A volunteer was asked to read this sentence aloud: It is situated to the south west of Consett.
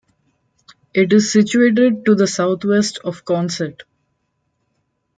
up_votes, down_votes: 2, 1